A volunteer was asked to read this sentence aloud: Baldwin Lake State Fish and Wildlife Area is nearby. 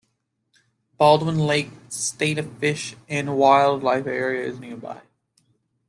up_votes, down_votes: 1, 2